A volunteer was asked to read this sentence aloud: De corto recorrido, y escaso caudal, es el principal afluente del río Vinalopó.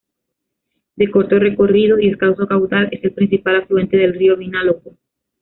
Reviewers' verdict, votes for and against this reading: rejected, 1, 2